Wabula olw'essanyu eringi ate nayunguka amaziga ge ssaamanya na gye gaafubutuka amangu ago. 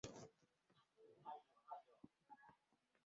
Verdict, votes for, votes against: rejected, 0, 2